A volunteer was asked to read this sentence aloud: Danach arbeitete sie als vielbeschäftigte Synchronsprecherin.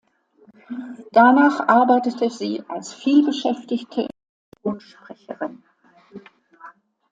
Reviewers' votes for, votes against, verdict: 0, 2, rejected